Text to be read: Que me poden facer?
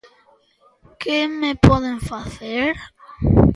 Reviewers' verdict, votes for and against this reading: accepted, 2, 0